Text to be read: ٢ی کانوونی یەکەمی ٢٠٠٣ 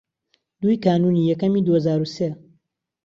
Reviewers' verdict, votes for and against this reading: rejected, 0, 2